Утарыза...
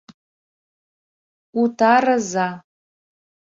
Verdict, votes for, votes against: accepted, 2, 0